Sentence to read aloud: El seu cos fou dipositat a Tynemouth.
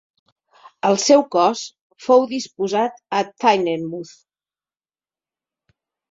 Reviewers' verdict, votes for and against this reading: rejected, 0, 2